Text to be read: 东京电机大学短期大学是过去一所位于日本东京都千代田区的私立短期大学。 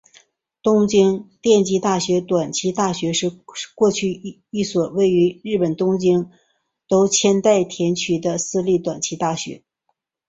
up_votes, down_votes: 2, 0